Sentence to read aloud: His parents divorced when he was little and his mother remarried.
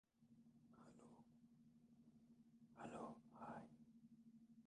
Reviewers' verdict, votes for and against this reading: rejected, 0, 2